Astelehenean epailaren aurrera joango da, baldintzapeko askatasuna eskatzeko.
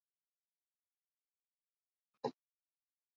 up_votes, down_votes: 0, 8